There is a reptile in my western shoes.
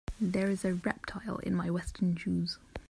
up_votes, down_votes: 2, 0